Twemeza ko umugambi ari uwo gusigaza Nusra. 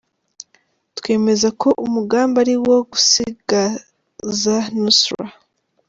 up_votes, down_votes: 1, 2